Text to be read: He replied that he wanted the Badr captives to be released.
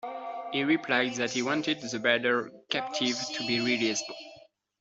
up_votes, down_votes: 2, 1